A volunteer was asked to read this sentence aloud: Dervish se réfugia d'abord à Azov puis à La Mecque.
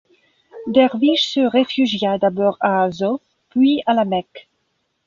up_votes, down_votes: 2, 0